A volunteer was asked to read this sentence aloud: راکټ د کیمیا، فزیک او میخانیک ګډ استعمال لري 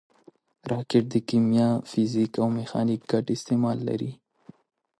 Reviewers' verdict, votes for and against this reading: accepted, 2, 0